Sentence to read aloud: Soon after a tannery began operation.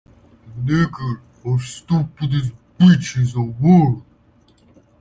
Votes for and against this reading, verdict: 0, 2, rejected